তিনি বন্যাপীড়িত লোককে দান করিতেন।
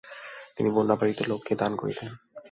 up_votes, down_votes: 0, 2